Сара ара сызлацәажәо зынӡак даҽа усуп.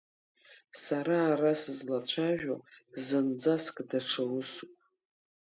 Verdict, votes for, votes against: rejected, 0, 2